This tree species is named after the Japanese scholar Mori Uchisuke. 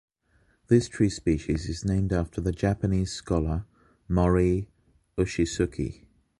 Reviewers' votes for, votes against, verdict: 2, 0, accepted